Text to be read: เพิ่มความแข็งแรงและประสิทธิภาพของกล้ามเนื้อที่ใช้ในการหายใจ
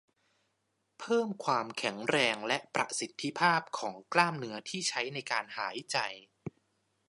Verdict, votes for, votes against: accepted, 2, 0